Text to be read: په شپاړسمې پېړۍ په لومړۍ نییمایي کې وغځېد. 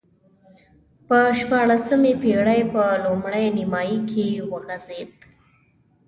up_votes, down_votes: 3, 0